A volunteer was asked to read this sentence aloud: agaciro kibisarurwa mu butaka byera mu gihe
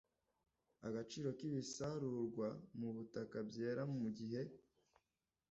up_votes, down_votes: 2, 0